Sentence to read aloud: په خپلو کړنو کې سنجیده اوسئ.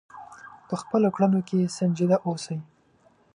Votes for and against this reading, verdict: 0, 2, rejected